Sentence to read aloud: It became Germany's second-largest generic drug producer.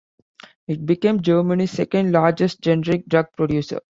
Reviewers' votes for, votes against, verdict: 1, 2, rejected